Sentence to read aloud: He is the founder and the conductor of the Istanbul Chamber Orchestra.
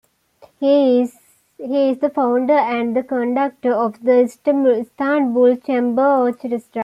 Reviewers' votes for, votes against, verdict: 0, 2, rejected